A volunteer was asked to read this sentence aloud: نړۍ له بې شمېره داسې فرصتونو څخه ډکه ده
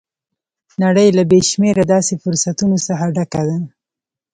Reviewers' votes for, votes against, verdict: 1, 2, rejected